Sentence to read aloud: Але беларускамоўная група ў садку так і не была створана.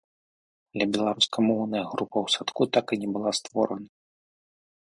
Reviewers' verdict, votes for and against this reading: rejected, 1, 2